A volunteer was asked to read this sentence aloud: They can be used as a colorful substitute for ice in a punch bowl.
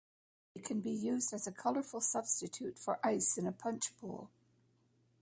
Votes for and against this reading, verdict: 2, 1, accepted